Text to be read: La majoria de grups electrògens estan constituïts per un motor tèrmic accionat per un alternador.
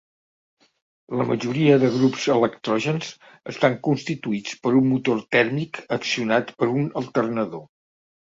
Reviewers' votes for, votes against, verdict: 2, 0, accepted